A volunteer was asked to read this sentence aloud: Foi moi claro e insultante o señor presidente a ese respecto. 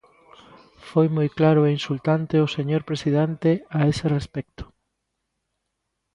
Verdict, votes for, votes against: accepted, 2, 0